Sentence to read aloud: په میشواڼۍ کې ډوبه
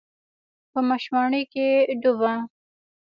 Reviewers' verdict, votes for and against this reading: rejected, 0, 2